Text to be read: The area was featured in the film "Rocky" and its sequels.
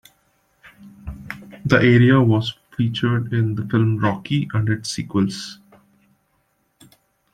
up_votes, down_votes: 1, 2